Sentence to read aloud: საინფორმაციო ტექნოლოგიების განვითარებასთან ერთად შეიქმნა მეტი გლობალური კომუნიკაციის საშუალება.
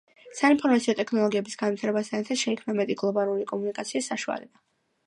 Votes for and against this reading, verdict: 1, 2, rejected